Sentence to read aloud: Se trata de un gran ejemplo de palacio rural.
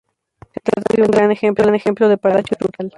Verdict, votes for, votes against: rejected, 0, 2